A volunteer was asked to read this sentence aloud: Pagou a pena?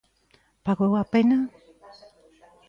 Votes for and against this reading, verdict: 1, 2, rejected